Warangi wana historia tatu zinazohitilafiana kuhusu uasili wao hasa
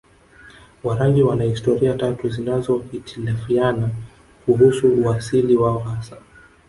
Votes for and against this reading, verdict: 2, 0, accepted